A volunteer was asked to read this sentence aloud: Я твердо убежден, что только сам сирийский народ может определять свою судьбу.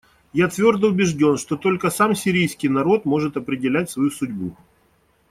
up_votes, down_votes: 2, 0